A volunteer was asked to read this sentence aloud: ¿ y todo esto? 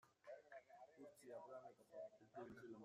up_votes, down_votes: 1, 2